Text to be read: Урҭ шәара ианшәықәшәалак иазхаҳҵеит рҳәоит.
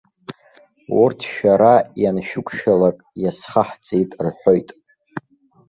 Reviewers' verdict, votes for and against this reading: accepted, 2, 1